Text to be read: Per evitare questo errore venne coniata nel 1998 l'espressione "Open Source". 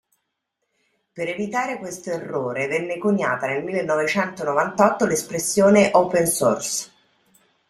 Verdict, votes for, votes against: rejected, 0, 2